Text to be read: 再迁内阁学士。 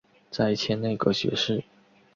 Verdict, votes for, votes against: accepted, 3, 0